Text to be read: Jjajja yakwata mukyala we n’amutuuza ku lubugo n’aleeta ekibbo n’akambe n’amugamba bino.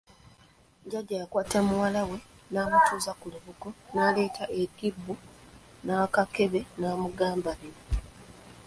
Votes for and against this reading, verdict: 1, 2, rejected